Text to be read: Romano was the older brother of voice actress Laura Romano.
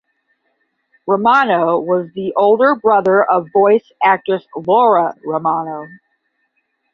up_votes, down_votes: 5, 0